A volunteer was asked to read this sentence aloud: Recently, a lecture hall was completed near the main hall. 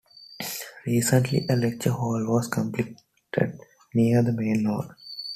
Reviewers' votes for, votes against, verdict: 2, 1, accepted